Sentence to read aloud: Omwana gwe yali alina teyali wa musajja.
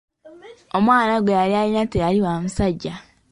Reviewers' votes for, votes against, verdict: 2, 1, accepted